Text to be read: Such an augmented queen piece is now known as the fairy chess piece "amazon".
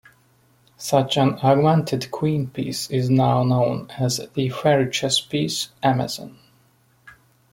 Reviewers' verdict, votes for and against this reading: accepted, 2, 0